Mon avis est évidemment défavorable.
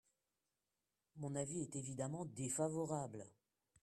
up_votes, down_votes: 1, 2